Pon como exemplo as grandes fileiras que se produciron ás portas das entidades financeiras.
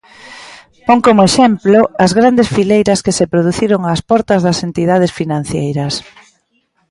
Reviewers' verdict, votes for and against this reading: rejected, 1, 2